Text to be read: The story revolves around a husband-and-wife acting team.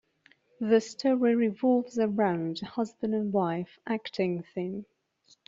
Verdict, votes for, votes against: rejected, 0, 2